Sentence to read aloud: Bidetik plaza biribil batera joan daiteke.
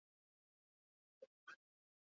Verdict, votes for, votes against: rejected, 0, 4